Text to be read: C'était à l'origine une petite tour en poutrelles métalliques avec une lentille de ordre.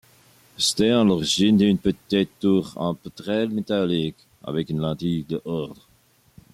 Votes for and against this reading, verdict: 1, 2, rejected